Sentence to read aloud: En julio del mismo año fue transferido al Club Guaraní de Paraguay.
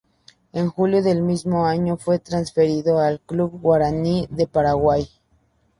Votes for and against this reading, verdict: 2, 0, accepted